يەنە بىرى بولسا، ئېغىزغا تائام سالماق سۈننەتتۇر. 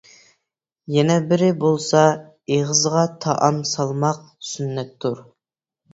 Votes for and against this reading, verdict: 2, 0, accepted